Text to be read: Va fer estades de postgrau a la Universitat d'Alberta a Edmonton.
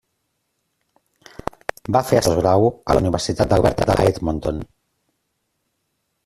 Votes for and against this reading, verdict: 0, 2, rejected